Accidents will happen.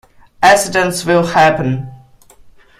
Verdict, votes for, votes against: accepted, 2, 0